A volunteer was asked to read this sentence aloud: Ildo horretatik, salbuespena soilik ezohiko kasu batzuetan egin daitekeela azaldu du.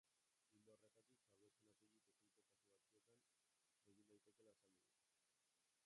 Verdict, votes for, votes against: rejected, 0, 3